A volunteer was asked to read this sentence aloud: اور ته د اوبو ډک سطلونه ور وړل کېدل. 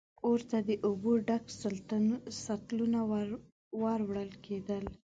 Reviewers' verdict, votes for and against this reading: rejected, 1, 2